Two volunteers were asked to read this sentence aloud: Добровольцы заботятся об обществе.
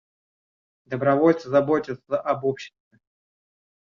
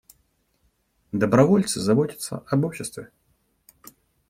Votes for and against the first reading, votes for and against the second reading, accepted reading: 0, 2, 2, 0, second